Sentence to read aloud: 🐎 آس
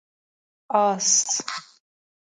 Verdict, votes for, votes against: accepted, 2, 0